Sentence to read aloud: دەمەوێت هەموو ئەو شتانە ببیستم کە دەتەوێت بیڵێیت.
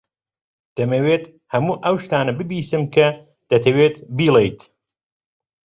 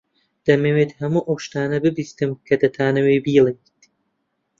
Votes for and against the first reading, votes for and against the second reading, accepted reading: 2, 0, 1, 2, first